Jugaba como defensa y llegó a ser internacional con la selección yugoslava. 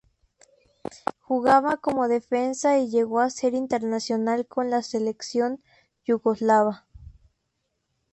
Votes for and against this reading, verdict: 0, 2, rejected